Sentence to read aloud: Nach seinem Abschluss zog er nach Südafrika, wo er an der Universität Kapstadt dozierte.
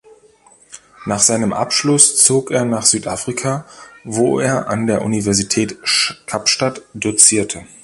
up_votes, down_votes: 1, 2